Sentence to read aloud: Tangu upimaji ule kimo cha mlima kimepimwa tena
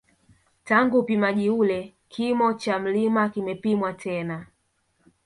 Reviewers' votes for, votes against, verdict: 0, 2, rejected